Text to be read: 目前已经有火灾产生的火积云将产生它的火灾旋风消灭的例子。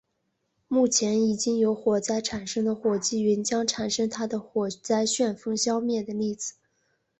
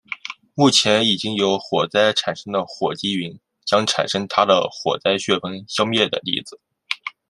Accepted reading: first